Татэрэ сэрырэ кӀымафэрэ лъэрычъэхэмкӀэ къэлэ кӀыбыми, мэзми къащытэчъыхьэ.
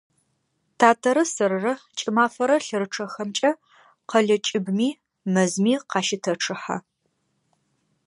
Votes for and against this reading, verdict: 2, 0, accepted